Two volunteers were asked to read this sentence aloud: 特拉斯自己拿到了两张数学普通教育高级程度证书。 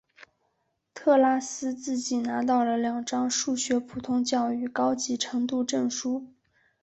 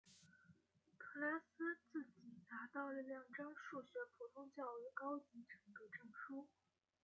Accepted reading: second